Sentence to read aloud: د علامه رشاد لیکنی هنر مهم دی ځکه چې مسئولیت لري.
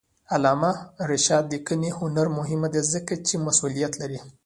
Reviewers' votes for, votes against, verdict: 0, 2, rejected